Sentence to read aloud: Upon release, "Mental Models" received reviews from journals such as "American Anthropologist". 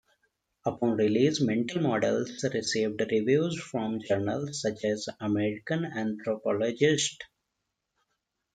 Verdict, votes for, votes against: accepted, 2, 1